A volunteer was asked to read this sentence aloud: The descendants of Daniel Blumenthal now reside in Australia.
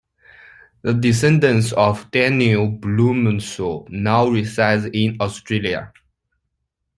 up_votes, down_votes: 2, 0